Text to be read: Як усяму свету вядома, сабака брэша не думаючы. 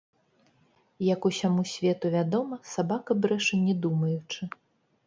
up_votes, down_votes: 0, 2